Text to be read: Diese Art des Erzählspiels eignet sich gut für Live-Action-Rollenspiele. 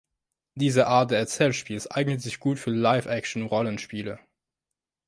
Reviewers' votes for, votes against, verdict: 0, 3, rejected